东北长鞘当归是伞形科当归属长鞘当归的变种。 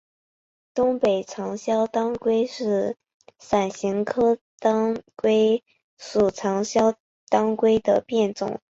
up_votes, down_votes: 8, 1